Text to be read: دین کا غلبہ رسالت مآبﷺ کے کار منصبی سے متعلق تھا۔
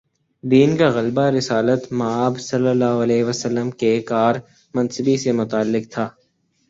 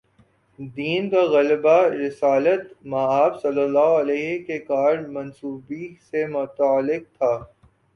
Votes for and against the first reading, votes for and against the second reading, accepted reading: 2, 0, 0, 2, first